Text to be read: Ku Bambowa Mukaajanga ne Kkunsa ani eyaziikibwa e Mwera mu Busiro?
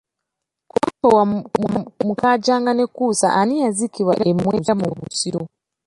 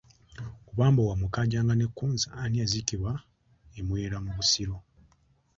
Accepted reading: first